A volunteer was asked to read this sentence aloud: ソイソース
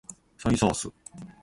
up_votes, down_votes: 2, 0